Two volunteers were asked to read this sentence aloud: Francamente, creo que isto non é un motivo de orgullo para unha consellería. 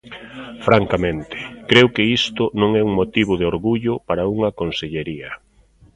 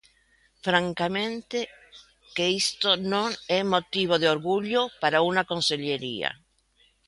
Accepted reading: first